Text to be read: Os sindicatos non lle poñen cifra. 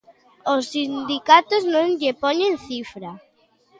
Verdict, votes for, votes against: rejected, 1, 2